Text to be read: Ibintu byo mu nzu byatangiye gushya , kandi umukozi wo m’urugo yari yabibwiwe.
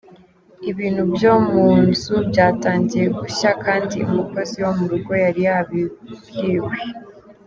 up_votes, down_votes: 2, 0